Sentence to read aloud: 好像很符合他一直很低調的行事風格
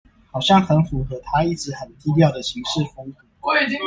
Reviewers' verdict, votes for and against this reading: accepted, 2, 1